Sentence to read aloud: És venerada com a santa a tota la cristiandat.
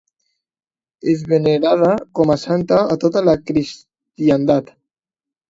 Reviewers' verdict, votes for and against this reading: accepted, 2, 0